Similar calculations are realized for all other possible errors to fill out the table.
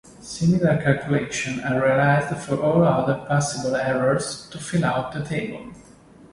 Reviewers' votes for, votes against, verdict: 0, 2, rejected